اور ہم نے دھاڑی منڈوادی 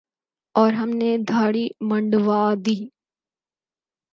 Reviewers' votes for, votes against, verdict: 2, 4, rejected